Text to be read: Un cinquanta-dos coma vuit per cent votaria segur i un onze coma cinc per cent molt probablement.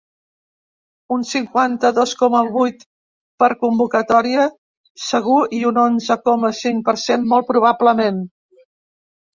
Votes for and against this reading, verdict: 1, 2, rejected